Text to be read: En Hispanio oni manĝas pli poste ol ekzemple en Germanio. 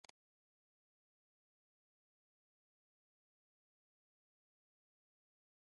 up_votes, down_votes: 2, 1